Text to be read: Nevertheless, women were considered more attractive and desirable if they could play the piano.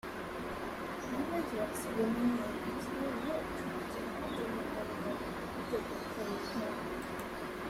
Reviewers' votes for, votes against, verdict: 0, 2, rejected